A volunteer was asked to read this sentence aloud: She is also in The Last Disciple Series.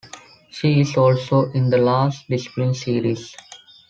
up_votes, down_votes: 0, 2